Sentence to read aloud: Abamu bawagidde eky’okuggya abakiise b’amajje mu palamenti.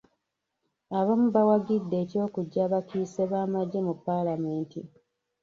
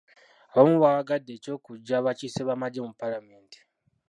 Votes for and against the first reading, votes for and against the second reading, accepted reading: 2, 1, 0, 2, first